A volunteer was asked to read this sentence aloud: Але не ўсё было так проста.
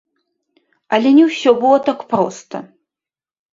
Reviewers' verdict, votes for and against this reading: rejected, 0, 2